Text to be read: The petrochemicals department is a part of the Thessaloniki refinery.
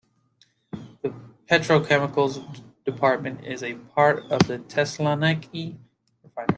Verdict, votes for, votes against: accepted, 2, 0